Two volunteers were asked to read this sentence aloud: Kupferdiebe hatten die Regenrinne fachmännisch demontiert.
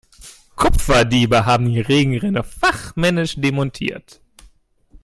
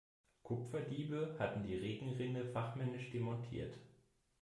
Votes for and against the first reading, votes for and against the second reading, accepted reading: 0, 2, 2, 0, second